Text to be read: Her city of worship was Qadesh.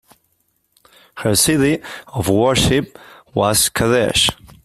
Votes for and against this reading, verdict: 2, 0, accepted